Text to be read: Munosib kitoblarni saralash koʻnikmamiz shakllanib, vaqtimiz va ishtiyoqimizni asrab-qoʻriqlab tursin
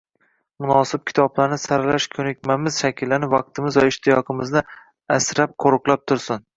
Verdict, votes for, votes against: accepted, 2, 1